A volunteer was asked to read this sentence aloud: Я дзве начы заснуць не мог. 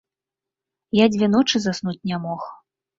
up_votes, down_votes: 0, 2